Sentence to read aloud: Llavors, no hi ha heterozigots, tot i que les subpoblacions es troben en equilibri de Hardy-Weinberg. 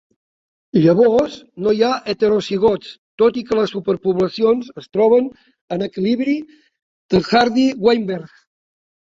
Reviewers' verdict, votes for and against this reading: rejected, 3, 4